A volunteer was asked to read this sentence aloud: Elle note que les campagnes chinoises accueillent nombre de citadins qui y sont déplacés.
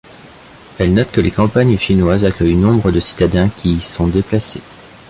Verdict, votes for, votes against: accepted, 3, 0